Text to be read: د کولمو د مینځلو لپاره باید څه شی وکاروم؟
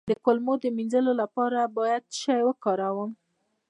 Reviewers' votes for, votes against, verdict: 2, 1, accepted